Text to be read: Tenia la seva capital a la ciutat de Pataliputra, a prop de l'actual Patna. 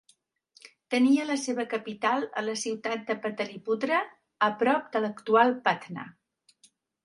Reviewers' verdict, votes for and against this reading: accepted, 2, 0